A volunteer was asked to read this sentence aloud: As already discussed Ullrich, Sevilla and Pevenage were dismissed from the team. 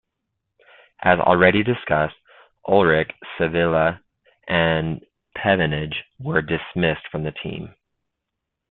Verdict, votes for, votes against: accepted, 2, 1